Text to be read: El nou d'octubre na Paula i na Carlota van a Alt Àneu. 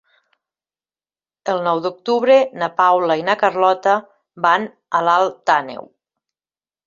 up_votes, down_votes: 1, 2